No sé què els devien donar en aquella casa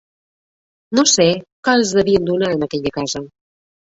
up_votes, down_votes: 2, 0